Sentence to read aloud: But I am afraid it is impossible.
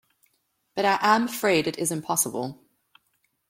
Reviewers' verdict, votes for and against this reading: accepted, 2, 0